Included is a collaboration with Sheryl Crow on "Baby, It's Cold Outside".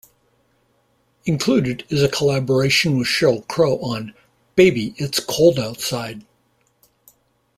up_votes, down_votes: 2, 0